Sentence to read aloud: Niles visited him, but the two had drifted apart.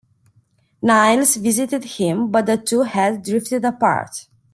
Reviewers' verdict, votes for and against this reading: accepted, 2, 0